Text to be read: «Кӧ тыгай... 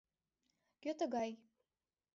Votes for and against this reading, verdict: 2, 0, accepted